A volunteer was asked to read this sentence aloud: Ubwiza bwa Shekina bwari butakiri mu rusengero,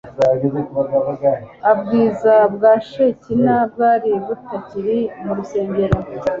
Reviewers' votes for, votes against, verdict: 1, 2, rejected